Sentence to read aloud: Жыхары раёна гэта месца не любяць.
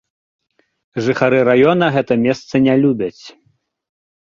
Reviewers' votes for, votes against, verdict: 2, 0, accepted